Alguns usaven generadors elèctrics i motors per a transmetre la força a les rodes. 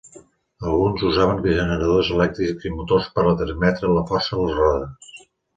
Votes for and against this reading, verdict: 1, 2, rejected